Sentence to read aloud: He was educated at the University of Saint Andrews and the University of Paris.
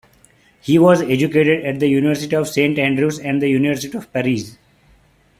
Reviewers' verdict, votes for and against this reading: accepted, 3, 1